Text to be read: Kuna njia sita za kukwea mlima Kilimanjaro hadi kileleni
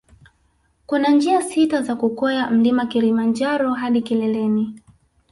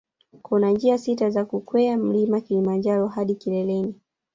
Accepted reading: first